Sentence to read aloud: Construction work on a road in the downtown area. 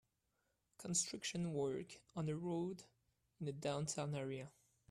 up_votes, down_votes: 2, 1